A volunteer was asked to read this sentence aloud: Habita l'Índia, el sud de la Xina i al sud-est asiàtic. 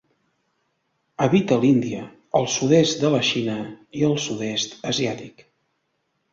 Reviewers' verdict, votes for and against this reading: rejected, 1, 2